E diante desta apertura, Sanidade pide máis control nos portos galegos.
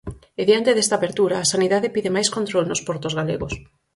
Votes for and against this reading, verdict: 4, 0, accepted